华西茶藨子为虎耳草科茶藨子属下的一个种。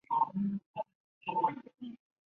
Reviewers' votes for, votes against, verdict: 0, 3, rejected